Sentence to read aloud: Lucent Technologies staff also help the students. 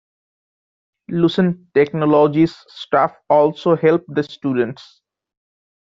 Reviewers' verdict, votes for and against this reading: accepted, 2, 0